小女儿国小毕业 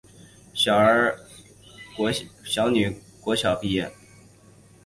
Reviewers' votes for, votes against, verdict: 2, 5, rejected